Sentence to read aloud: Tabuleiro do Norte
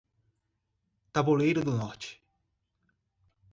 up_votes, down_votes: 2, 0